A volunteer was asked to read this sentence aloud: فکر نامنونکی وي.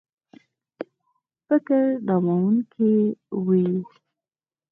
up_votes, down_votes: 4, 0